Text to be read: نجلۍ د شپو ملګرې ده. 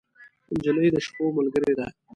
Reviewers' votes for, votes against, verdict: 2, 0, accepted